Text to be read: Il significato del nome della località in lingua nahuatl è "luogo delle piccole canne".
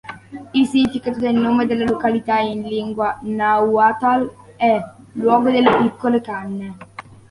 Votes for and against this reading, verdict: 0, 2, rejected